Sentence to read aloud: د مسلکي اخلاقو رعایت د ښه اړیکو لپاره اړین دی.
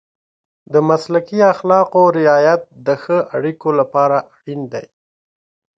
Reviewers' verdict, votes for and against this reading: accepted, 2, 0